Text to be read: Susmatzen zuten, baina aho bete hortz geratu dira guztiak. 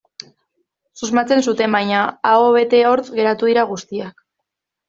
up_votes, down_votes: 2, 0